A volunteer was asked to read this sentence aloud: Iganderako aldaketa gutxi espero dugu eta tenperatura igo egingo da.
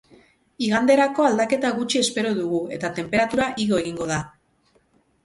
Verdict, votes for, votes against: accepted, 2, 0